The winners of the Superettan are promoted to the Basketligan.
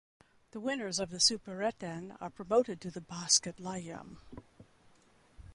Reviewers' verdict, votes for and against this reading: rejected, 0, 2